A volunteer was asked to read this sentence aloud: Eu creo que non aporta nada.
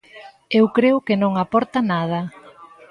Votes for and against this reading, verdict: 2, 0, accepted